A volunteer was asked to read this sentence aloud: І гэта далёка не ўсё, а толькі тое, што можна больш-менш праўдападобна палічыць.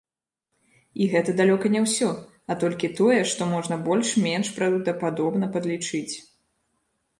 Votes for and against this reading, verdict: 1, 2, rejected